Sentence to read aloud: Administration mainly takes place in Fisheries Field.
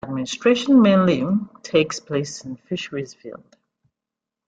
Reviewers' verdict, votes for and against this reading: accepted, 2, 1